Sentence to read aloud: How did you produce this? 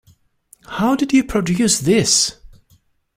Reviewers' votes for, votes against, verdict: 2, 0, accepted